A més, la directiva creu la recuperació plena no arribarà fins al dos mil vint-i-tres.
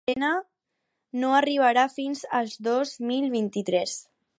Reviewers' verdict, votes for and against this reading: rejected, 2, 4